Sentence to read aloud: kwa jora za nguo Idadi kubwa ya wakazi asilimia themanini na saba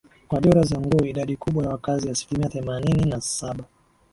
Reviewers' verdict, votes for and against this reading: accepted, 2, 0